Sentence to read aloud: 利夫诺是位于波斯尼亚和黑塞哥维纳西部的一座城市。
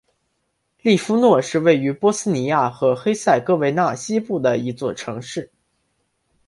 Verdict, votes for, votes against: accepted, 2, 0